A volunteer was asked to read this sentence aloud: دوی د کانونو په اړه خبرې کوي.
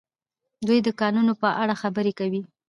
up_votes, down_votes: 0, 2